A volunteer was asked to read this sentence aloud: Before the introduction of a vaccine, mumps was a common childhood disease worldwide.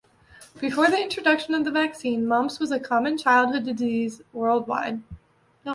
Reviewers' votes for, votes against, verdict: 0, 2, rejected